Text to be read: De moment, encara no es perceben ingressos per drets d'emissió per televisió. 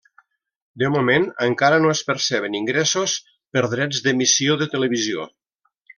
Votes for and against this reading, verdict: 0, 2, rejected